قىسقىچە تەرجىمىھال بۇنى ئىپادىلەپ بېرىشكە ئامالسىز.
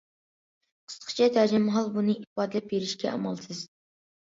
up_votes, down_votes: 2, 0